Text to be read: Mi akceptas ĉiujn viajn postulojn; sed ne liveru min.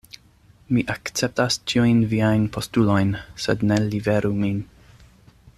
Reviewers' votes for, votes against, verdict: 2, 0, accepted